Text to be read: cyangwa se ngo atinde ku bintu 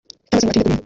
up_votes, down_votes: 0, 3